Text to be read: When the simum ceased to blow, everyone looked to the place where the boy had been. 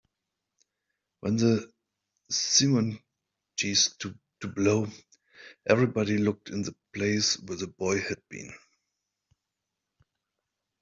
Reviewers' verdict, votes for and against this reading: rejected, 0, 2